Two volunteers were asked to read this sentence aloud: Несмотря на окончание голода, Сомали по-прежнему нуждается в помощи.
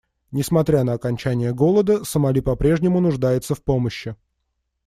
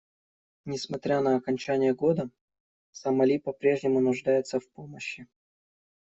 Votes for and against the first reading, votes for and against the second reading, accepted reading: 2, 0, 0, 2, first